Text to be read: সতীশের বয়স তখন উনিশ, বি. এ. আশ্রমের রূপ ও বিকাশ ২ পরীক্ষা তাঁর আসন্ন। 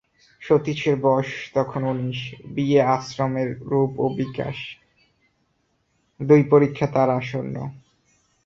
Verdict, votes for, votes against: rejected, 0, 2